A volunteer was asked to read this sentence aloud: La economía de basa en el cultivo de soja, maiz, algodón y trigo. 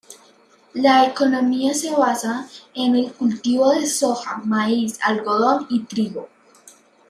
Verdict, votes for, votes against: rejected, 0, 2